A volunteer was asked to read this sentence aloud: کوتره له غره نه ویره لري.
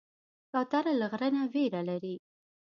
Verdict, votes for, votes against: accepted, 2, 0